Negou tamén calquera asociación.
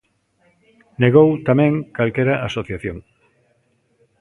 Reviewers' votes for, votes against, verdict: 2, 0, accepted